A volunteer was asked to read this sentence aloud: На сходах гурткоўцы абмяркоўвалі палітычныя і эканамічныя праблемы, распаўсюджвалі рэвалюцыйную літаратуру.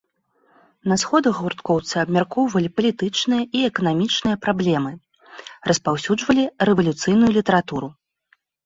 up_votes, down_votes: 2, 0